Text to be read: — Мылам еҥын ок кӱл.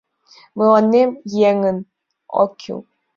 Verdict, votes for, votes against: accepted, 2, 1